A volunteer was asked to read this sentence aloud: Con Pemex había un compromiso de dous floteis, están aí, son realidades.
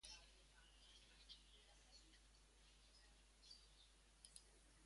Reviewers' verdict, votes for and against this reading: rejected, 0, 2